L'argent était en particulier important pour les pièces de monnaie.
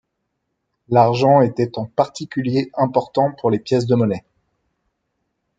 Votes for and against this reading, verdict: 2, 0, accepted